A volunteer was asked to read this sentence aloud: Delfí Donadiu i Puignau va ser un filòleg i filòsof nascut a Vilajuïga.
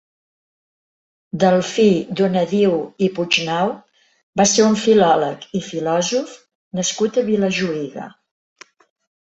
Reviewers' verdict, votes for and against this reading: accepted, 2, 0